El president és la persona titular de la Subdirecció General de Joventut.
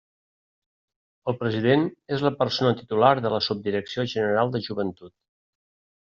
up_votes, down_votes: 3, 0